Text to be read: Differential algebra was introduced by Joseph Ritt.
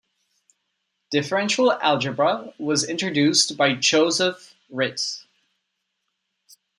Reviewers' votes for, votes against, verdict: 2, 1, accepted